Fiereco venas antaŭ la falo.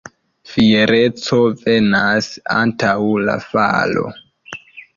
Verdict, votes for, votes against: accepted, 2, 0